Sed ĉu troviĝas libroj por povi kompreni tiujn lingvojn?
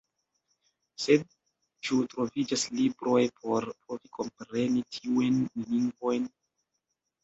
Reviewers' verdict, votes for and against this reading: rejected, 1, 2